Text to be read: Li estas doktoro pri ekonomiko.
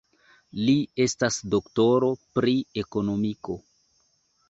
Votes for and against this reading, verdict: 3, 0, accepted